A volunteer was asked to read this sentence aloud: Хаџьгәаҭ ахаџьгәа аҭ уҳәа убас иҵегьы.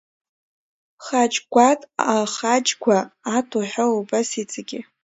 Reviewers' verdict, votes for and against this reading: accepted, 2, 0